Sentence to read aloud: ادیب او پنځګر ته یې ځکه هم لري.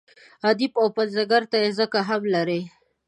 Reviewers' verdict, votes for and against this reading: accepted, 2, 0